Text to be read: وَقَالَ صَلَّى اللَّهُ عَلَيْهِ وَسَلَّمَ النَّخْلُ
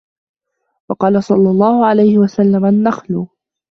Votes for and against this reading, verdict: 2, 0, accepted